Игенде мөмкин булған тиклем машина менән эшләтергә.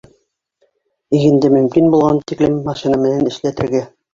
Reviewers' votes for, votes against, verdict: 2, 3, rejected